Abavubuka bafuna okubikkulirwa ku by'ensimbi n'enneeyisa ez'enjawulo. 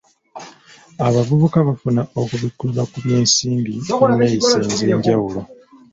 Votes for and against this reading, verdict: 0, 2, rejected